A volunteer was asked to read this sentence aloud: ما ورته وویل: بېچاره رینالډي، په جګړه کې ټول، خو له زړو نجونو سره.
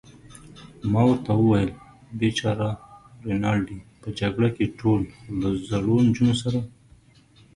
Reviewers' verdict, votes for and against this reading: accepted, 2, 0